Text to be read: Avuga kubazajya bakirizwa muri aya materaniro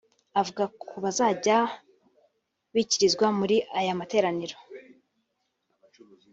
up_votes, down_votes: 1, 3